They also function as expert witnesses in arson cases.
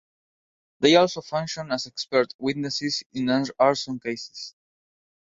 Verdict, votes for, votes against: rejected, 1, 2